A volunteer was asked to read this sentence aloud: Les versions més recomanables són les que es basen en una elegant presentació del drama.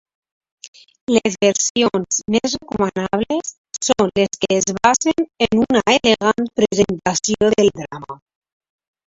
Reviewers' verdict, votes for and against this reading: rejected, 0, 3